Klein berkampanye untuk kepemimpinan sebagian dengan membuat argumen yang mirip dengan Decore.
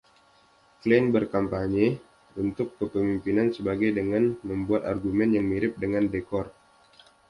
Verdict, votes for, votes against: rejected, 1, 2